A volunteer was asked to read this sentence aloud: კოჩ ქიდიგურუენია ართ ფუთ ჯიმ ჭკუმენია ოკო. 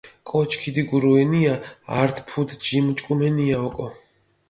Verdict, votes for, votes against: accepted, 2, 1